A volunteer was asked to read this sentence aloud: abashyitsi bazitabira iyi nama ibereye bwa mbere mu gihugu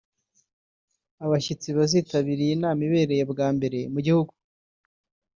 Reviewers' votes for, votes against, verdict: 0, 2, rejected